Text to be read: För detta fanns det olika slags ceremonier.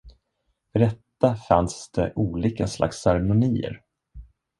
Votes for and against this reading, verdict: 2, 1, accepted